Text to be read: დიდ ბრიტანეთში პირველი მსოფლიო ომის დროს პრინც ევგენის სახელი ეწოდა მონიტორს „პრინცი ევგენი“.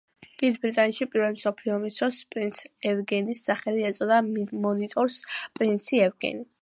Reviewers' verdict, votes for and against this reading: accepted, 2, 1